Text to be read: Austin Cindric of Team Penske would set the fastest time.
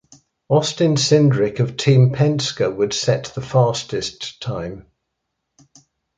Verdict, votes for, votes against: accepted, 2, 1